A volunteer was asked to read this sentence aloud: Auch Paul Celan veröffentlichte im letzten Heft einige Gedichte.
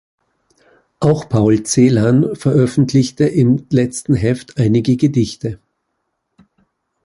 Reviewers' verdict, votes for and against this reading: accepted, 2, 0